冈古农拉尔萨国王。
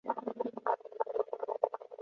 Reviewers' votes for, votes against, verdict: 0, 2, rejected